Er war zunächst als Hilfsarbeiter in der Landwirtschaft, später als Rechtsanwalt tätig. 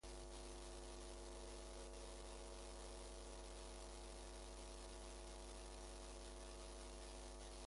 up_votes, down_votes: 0, 2